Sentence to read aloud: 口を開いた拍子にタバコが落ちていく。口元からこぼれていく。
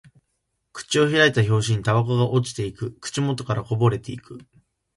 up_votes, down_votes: 0, 2